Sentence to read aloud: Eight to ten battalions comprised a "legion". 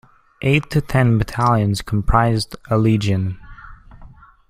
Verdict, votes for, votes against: accepted, 2, 0